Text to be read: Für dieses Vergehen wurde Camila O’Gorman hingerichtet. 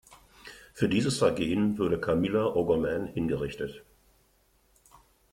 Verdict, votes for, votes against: accepted, 2, 1